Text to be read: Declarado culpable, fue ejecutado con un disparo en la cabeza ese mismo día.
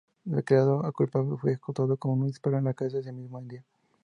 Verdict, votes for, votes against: accepted, 2, 0